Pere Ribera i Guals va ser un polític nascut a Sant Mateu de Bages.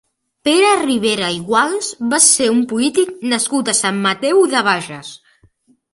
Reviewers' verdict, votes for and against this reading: accepted, 2, 0